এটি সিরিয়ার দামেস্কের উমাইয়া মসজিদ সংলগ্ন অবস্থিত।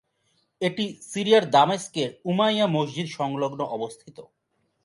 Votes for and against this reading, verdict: 2, 0, accepted